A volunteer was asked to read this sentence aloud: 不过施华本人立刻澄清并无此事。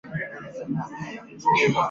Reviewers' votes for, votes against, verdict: 0, 2, rejected